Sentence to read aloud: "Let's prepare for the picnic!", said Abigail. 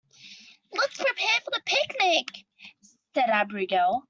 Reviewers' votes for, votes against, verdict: 0, 2, rejected